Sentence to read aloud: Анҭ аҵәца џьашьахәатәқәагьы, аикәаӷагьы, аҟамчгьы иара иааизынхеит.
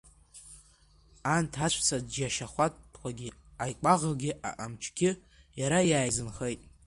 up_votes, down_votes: 2, 1